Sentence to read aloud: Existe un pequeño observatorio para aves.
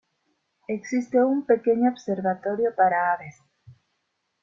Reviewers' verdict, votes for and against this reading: rejected, 1, 2